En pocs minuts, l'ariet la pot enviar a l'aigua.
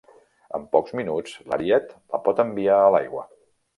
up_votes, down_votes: 3, 0